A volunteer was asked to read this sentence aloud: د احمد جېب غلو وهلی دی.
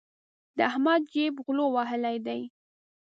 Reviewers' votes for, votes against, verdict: 2, 0, accepted